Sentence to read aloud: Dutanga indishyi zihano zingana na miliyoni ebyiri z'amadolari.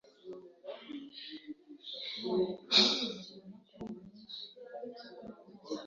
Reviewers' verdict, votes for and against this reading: rejected, 1, 3